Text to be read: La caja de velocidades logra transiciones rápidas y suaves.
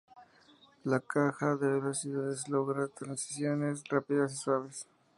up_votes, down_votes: 2, 0